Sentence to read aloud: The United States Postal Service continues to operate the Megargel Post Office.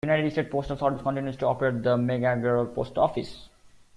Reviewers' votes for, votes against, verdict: 0, 2, rejected